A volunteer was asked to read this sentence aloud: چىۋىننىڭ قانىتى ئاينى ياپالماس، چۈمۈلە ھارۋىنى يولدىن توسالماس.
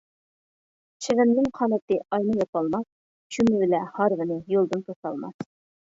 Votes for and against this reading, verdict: 0, 2, rejected